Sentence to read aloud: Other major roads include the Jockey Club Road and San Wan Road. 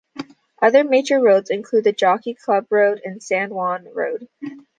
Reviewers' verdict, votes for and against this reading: accepted, 2, 0